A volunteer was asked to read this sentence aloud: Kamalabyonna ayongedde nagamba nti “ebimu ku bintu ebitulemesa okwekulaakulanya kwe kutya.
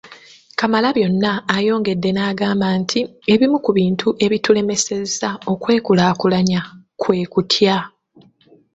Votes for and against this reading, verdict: 0, 2, rejected